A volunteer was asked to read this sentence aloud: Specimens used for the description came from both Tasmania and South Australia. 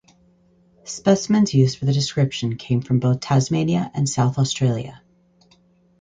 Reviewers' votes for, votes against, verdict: 4, 0, accepted